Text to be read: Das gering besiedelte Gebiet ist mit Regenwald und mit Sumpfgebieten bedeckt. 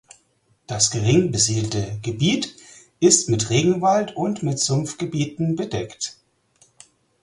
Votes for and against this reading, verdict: 4, 0, accepted